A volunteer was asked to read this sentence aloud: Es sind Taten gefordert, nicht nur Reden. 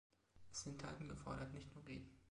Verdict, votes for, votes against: accepted, 2, 0